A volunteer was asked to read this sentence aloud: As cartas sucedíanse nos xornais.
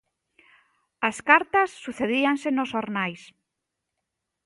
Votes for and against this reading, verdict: 2, 0, accepted